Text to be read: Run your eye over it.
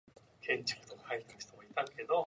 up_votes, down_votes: 0, 2